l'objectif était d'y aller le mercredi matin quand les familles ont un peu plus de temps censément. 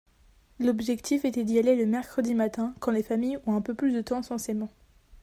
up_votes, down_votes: 2, 0